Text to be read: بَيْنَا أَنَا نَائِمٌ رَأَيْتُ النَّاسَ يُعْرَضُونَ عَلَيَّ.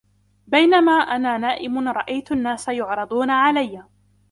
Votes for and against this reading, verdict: 2, 0, accepted